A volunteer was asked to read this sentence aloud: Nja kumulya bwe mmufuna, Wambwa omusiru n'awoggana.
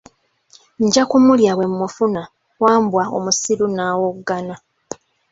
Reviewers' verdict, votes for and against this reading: accepted, 2, 0